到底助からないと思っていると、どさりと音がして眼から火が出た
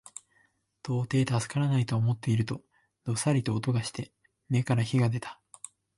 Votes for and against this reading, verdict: 2, 1, accepted